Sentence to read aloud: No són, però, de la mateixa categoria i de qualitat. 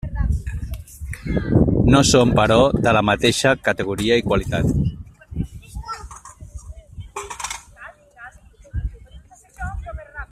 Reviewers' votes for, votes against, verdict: 1, 2, rejected